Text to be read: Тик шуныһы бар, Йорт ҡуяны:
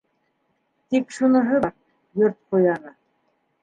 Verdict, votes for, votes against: rejected, 0, 2